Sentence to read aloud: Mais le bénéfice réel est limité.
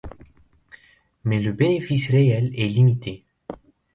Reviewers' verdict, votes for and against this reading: accepted, 2, 0